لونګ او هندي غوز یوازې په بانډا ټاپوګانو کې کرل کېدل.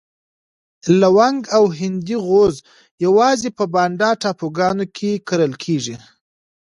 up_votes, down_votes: 1, 2